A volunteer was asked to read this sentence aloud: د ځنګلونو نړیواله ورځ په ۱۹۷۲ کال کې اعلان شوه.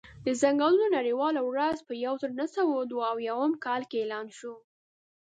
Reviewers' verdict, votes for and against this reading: rejected, 0, 2